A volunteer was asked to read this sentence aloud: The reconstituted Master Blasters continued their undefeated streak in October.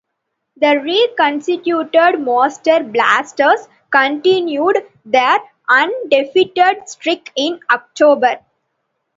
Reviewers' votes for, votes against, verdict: 2, 1, accepted